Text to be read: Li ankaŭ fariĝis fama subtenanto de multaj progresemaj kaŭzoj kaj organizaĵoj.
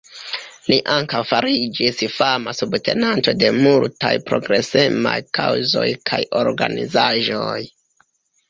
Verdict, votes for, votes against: rejected, 1, 2